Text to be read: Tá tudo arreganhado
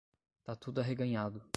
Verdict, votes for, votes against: rejected, 5, 5